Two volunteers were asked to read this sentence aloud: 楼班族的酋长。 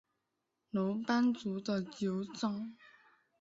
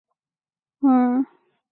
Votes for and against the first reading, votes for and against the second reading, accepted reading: 3, 0, 0, 3, first